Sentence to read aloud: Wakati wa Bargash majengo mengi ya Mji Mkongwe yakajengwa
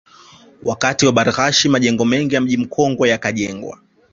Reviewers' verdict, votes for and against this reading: accepted, 2, 0